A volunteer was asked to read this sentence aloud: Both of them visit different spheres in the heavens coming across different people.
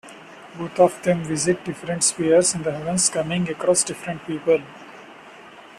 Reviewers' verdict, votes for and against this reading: accepted, 2, 0